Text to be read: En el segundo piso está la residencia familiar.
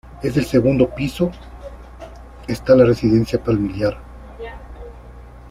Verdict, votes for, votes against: rejected, 0, 2